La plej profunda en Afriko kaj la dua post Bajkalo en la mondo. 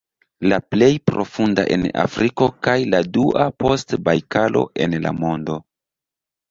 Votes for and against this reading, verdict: 1, 2, rejected